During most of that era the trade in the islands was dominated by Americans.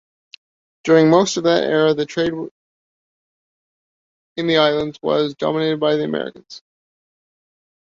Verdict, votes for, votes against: rejected, 1, 2